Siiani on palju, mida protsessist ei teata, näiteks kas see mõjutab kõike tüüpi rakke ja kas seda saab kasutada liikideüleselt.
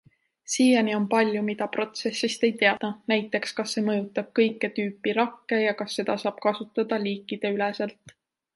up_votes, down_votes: 0, 2